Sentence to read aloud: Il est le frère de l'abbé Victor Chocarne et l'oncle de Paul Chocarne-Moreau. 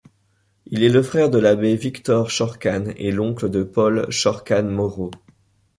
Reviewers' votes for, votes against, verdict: 2, 1, accepted